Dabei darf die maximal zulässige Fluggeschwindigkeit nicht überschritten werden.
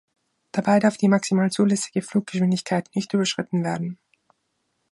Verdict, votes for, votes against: accepted, 2, 0